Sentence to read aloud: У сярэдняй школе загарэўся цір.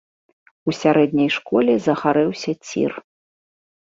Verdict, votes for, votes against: accepted, 2, 0